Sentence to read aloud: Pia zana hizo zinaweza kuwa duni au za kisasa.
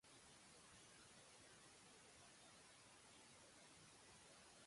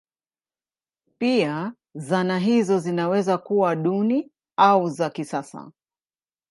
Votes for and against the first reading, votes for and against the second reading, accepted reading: 0, 2, 2, 0, second